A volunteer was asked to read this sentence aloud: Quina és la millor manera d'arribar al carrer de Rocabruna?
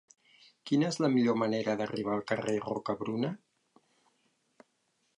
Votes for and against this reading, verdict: 1, 2, rejected